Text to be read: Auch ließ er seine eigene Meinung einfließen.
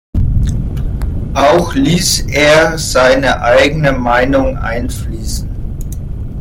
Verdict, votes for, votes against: rejected, 1, 2